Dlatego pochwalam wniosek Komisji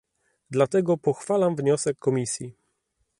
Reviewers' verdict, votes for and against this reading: accepted, 2, 0